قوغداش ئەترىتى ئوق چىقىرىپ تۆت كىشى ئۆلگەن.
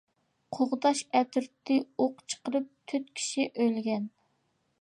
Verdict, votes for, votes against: accepted, 2, 0